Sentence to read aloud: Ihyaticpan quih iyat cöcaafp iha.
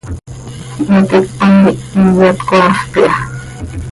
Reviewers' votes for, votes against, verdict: 1, 2, rejected